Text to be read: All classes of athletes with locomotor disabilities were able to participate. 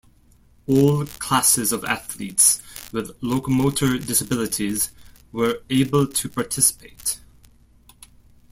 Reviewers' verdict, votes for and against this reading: accepted, 2, 0